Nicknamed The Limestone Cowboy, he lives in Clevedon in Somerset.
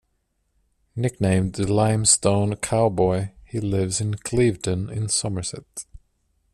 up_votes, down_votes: 2, 0